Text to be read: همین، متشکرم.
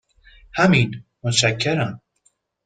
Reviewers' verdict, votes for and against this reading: accepted, 2, 0